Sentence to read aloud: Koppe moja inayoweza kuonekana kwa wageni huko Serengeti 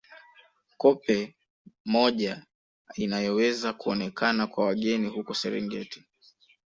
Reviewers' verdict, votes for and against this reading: accepted, 2, 0